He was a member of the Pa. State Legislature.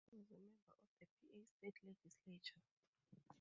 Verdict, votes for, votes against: rejected, 0, 4